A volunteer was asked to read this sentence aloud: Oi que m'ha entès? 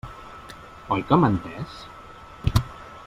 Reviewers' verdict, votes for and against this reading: accepted, 2, 1